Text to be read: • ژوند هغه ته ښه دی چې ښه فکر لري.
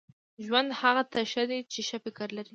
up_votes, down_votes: 3, 0